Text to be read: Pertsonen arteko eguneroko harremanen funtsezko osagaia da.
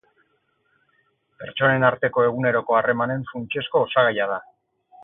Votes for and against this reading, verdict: 6, 0, accepted